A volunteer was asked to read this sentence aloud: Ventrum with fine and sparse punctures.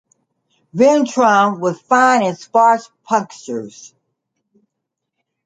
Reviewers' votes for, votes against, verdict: 2, 0, accepted